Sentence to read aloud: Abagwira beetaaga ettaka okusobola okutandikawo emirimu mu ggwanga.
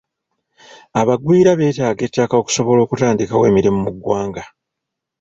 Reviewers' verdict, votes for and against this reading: accepted, 2, 0